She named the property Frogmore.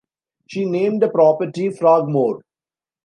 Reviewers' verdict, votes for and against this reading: accepted, 2, 1